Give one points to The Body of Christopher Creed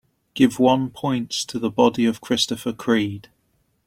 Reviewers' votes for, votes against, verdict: 3, 0, accepted